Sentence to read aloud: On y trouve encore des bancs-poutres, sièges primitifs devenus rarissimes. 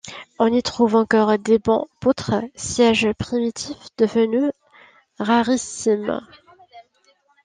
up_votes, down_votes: 1, 2